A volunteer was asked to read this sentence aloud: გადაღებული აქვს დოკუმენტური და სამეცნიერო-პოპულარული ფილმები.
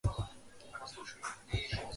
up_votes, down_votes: 0, 3